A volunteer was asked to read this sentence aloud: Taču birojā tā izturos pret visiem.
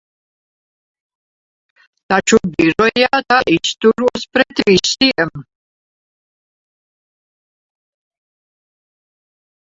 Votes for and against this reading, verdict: 0, 2, rejected